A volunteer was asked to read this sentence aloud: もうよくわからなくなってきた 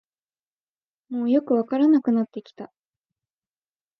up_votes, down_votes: 2, 0